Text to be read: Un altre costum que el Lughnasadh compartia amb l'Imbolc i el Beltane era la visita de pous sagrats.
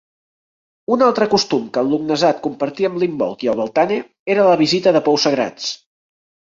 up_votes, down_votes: 2, 0